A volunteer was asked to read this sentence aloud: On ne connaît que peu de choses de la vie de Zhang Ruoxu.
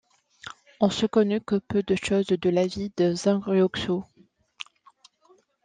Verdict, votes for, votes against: accepted, 2, 1